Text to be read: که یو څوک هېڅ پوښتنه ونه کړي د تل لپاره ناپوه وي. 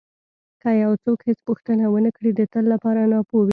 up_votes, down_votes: 2, 0